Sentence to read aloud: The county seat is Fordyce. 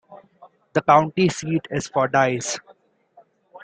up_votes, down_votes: 2, 0